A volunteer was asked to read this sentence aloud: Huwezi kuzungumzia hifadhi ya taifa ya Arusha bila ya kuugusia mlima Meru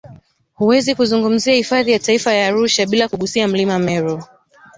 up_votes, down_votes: 1, 2